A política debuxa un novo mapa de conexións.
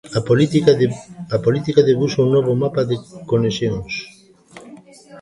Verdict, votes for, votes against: rejected, 0, 2